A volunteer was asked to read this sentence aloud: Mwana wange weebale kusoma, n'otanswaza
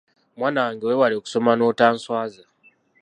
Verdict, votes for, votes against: rejected, 0, 2